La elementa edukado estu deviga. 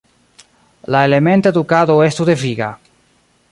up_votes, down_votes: 0, 2